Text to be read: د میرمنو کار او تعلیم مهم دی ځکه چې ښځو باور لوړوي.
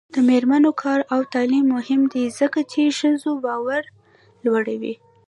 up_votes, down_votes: 1, 2